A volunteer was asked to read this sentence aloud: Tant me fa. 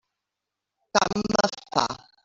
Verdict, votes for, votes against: rejected, 0, 2